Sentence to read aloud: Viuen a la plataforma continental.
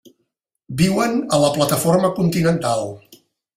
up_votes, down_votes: 3, 0